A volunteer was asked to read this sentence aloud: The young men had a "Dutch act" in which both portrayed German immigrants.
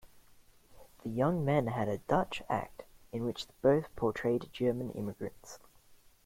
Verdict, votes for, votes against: accepted, 2, 0